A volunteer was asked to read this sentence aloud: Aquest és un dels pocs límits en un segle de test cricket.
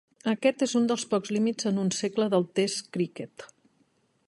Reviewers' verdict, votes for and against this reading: accepted, 2, 0